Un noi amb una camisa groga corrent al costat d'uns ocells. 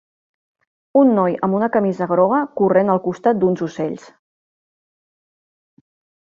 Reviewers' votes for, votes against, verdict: 3, 0, accepted